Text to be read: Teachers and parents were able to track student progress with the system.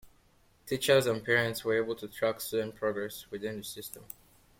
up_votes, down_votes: 1, 2